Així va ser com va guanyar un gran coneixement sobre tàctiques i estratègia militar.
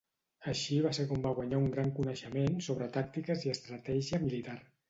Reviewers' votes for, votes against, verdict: 2, 0, accepted